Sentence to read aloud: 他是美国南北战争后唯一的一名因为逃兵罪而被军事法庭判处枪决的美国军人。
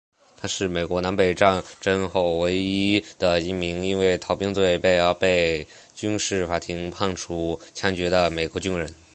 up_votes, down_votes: 3, 1